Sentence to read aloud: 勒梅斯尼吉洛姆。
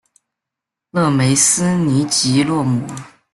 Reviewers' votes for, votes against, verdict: 2, 0, accepted